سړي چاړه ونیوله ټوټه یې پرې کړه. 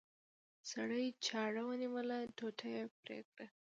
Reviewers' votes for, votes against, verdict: 1, 2, rejected